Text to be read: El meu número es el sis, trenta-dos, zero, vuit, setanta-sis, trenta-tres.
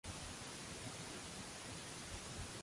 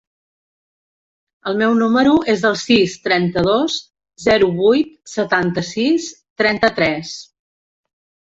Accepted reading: second